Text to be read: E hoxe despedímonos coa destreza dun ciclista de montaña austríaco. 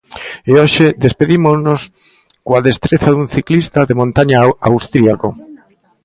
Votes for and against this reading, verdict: 1, 2, rejected